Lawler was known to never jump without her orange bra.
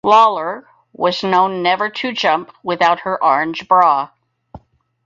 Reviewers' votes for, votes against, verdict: 0, 4, rejected